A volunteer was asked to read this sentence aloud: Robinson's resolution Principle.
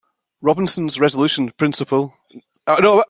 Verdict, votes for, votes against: rejected, 1, 2